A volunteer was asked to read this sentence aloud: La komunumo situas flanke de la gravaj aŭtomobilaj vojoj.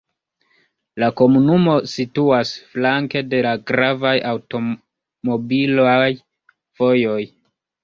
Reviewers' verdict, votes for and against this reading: accepted, 2, 0